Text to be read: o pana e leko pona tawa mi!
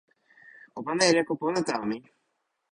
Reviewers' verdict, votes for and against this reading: rejected, 1, 2